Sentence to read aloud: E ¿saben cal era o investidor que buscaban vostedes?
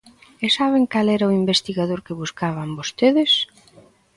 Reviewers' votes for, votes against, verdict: 0, 2, rejected